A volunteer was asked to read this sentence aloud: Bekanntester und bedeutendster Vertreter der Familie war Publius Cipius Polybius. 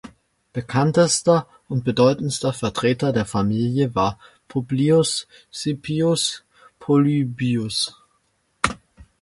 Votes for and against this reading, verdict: 2, 0, accepted